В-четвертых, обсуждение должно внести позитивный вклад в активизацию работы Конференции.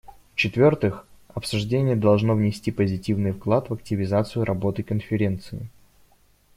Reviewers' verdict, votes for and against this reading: accepted, 2, 0